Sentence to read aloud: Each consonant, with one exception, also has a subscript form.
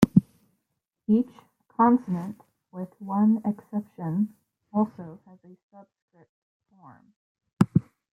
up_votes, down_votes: 1, 2